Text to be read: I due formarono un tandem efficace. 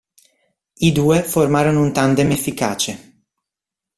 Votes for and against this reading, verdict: 2, 0, accepted